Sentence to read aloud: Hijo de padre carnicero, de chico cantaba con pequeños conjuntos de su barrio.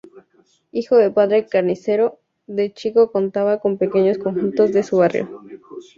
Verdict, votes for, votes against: accepted, 2, 0